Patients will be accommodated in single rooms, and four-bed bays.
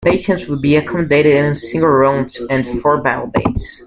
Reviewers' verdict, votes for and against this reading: rejected, 0, 2